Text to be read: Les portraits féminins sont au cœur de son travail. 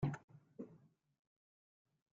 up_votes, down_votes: 0, 2